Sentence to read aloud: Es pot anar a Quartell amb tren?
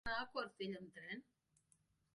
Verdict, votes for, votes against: rejected, 0, 2